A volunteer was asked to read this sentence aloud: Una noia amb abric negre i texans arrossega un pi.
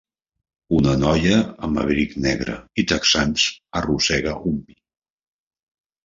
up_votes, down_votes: 0, 2